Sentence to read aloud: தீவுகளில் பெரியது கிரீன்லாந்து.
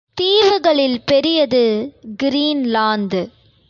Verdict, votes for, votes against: accepted, 2, 0